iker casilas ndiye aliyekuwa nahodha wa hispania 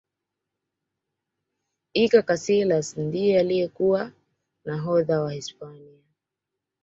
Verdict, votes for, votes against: accepted, 2, 1